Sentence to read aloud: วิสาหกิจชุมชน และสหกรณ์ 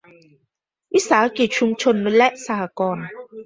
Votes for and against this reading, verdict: 2, 0, accepted